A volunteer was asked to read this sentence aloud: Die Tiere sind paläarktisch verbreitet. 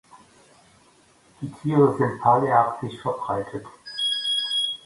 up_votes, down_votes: 1, 2